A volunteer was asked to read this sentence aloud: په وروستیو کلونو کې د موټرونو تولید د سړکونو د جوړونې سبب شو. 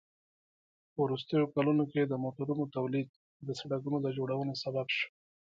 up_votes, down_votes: 2, 0